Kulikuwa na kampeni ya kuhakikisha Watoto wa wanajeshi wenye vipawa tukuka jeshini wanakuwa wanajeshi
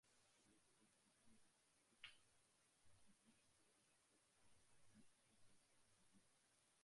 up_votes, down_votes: 0, 2